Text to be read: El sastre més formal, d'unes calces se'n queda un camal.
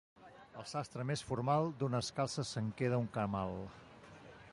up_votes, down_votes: 1, 2